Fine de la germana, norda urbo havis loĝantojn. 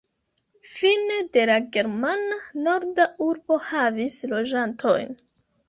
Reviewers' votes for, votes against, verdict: 1, 2, rejected